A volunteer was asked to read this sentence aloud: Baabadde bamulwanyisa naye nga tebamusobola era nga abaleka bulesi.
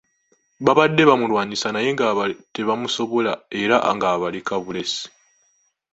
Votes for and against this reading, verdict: 2, 0, accepted